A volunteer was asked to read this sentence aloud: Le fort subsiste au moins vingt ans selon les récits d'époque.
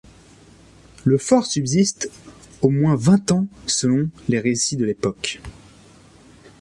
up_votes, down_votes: 1, 2